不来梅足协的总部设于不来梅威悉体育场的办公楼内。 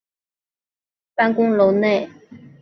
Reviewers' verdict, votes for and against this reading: accepted, 2, 0